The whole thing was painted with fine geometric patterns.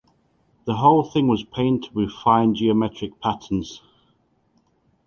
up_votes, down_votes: 2, 0